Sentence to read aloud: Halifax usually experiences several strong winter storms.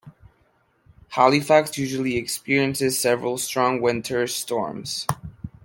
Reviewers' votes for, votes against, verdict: 2, 0, accepted